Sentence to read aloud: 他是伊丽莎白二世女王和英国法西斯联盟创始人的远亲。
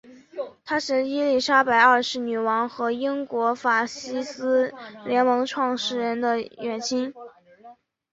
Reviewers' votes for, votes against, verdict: 4, 0, accepted